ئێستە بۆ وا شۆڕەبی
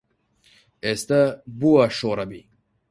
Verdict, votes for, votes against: accepted, 4, 0